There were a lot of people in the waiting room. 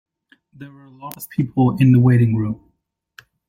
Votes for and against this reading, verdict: 0, 2, rejected